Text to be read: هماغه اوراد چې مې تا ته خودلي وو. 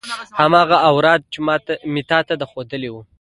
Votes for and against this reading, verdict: 1, 2, rejected